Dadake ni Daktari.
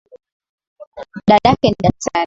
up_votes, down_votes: 10, 4